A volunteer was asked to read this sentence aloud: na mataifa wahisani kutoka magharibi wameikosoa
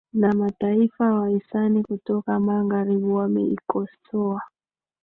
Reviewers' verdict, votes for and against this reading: rejected, 2, 3